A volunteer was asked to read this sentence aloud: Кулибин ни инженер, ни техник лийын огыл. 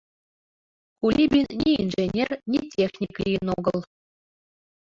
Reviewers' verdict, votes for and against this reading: accepted, 2, 1